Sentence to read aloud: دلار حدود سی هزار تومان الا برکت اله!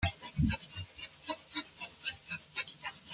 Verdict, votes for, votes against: rejected, 0, 2